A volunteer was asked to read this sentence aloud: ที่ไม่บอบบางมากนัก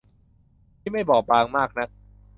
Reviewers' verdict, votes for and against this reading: accepted, 3, 0